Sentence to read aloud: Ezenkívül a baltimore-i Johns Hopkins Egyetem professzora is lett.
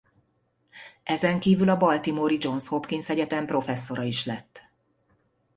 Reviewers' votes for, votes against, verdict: 2, 0, accepted